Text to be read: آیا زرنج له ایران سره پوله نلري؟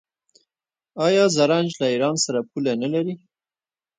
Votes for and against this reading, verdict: 1, 2, rejected